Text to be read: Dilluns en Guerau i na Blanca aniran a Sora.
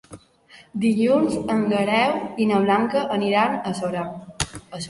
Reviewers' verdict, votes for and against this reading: rejected, 1, 2